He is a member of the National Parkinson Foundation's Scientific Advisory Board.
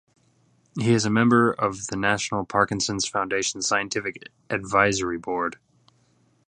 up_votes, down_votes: 2, 1